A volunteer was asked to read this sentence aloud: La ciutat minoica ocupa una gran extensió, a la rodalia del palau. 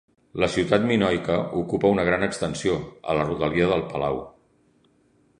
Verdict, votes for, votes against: accepted, 2, 0